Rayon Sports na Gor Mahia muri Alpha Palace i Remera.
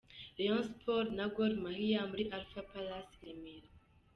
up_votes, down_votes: 3, 1